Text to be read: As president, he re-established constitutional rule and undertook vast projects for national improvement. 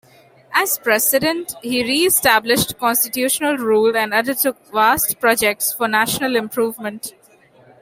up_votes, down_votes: 2, 0